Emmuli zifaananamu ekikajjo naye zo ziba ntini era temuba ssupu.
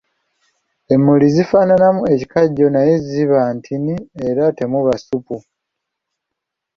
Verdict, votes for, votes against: rejected, 1, 2